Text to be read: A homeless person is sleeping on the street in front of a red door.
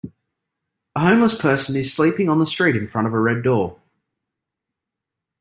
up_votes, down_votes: 2, 1